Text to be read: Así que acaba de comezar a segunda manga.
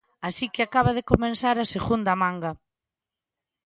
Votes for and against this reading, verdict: 2, 0, accepted